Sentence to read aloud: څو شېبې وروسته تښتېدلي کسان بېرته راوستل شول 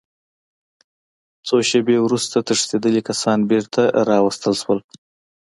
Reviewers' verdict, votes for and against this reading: accepted, 2, 0